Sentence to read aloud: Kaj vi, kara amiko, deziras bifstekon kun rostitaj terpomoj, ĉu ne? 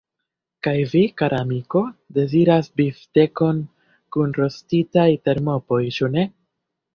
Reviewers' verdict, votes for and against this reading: accepted, 2, 0